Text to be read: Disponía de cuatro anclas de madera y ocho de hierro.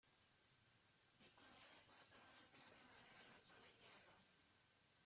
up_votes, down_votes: 1, 2